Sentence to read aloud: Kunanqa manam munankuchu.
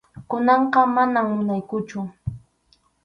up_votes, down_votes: 2, 2